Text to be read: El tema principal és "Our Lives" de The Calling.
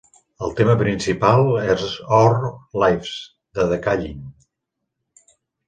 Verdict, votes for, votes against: rejected, 1, 2